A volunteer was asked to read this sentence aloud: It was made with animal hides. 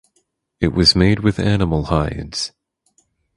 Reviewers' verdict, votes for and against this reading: accepted, 4, 0